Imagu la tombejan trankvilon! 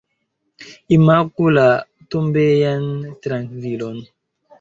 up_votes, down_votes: 0, 2